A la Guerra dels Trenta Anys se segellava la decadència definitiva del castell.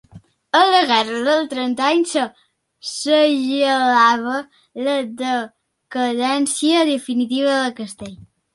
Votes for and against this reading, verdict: 0, 2, rejected